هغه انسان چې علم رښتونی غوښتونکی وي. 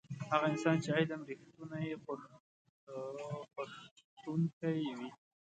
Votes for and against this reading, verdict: 0, 2, rejected